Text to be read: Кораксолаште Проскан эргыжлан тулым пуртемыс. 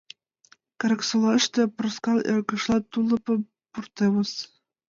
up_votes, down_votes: 0, 2